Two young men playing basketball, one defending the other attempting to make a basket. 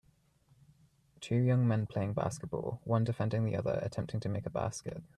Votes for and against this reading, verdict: 2, 0, accepted